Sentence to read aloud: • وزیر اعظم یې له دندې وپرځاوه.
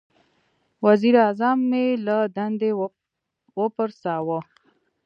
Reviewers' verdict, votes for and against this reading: rejected, 1, 2